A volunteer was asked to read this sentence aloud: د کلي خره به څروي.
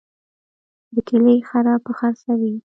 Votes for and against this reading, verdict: 1, 2, rejected